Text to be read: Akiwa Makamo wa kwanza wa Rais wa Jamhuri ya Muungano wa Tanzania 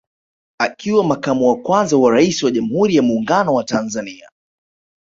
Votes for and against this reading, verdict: 1, 2, rejected